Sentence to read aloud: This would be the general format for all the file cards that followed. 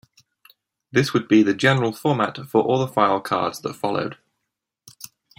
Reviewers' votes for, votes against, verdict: 2, 0, accepted